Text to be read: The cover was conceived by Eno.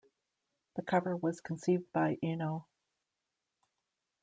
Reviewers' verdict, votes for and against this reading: accepted, 2, 0